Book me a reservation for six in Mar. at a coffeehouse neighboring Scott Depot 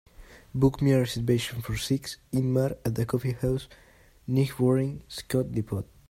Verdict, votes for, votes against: rejected, 1, 2